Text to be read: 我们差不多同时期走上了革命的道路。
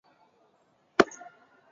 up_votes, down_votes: 0, 2